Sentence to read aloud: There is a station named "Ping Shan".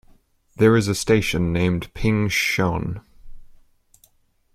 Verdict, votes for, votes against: accepted, 2, 0